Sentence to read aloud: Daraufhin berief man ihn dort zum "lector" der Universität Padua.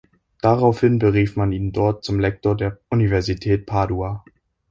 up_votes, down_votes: 2, 0